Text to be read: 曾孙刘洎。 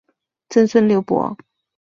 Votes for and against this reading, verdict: 4, 0, accepted